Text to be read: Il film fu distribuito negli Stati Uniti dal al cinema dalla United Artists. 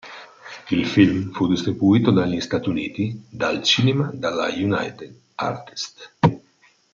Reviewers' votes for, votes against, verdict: 0, 2, rejected